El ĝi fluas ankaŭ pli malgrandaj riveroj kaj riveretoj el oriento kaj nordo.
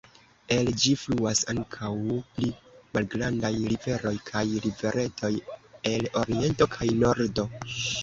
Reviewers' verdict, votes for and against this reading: accepted, 2, 0